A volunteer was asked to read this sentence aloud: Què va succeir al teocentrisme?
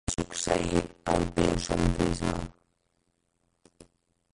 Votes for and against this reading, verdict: 2, 4, rejected